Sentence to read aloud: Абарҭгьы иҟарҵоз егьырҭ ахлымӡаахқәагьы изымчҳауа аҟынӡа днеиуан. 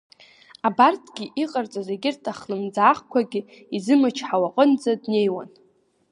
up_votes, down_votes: 2, 1